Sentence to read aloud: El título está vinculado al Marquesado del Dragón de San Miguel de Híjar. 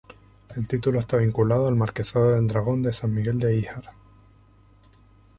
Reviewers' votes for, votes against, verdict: 2, 0, accepted